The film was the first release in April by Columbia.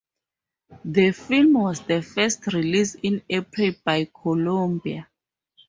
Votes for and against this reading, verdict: 2, 0, accepted